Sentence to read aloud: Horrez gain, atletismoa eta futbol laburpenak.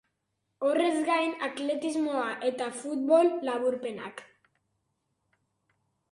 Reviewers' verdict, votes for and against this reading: accepted, 2, 0